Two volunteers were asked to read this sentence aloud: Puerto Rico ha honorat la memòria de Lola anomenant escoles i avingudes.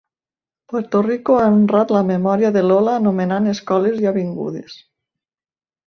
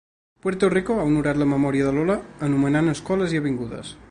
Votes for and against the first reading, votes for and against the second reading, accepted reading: 0, 3, 2, 0, second